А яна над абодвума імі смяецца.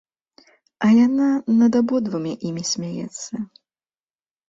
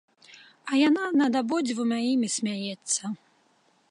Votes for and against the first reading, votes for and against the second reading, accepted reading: 2, 0, 1, 3, first